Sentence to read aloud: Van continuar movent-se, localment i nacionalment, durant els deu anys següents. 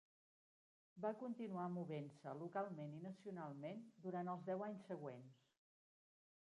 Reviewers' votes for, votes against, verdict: 0, 2, rejected